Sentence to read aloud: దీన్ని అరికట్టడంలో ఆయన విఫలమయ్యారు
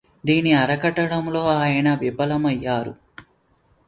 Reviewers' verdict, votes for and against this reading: rejected, 0, 2